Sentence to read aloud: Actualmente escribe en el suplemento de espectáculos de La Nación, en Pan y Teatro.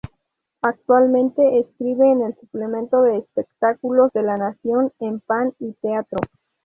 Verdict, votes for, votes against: accepted, 2, 0